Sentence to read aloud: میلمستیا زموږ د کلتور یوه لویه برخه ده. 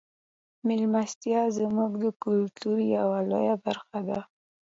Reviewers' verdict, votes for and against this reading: accepted, 2, 0